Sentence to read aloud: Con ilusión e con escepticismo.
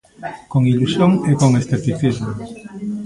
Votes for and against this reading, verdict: 2, 0, accepted